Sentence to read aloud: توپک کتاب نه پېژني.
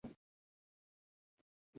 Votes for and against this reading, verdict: 2, 0, accepted